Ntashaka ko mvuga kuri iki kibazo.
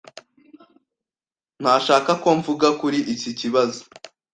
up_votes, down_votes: 2, 0